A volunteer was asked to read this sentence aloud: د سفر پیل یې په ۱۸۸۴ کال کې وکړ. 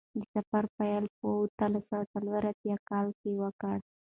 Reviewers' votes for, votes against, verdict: 0, 2, rejected